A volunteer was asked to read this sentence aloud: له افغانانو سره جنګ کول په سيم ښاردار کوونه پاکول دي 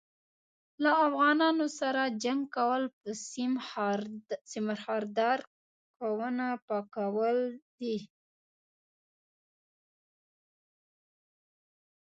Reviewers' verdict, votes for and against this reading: rejected, 1, 2